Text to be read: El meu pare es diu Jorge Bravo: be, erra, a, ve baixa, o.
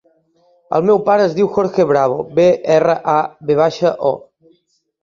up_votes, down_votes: 4, 0